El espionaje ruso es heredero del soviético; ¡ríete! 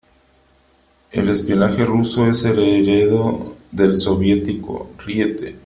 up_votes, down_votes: 3, 0